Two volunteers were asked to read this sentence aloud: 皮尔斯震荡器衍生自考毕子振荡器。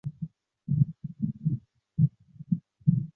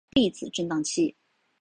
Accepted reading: second